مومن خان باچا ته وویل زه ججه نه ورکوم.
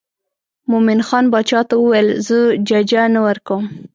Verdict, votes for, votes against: accepted, 2, 0